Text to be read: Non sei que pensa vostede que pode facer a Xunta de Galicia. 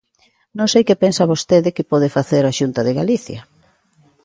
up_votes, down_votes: 2, 0